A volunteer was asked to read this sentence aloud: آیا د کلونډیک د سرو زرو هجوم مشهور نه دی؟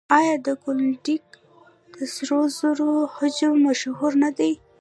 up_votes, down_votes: 0, 2